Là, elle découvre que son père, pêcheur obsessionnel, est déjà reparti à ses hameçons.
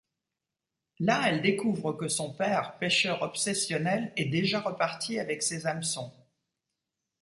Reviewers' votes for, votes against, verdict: 0, 2, rejected